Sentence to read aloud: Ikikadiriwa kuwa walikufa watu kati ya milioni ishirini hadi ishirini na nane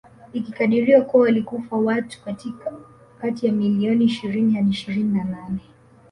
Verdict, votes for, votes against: rejected, 1, 2